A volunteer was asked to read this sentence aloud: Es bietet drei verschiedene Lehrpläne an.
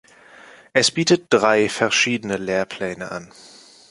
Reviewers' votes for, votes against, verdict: 2, 0, accepted